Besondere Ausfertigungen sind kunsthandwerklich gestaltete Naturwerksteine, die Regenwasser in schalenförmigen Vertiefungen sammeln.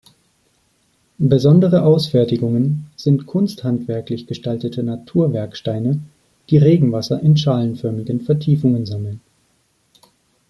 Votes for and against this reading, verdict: 2, 0, accepted